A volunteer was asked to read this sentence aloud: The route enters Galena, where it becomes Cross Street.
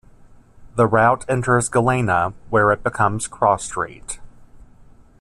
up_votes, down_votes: 2, 0